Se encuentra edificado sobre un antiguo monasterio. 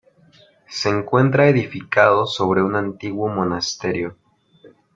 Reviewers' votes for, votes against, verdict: 2, 0, accepted